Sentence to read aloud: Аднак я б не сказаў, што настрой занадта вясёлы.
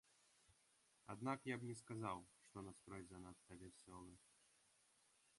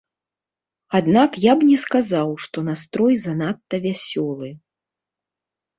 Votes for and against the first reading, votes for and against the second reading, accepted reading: 1, 2, 2, 0, second